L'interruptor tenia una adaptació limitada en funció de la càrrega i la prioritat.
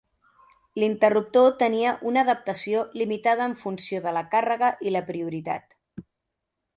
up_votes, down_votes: 2, 0